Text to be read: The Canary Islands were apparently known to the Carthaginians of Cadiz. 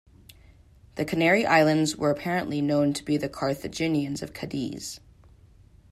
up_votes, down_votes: 1, 2